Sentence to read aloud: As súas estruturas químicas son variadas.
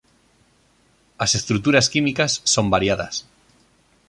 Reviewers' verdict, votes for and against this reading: rejected, 1, 2